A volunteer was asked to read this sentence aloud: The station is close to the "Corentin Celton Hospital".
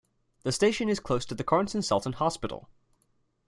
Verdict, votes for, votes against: accepted, 2, 0